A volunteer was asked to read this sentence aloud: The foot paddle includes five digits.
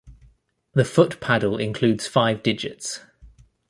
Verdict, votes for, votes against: accepted, 2, 0